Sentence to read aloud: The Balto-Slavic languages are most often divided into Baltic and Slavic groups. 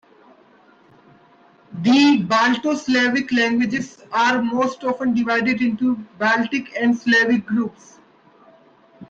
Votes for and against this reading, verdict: 3, 1, accepted